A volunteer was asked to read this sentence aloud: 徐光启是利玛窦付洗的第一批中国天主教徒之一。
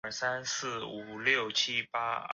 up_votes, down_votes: 0, 2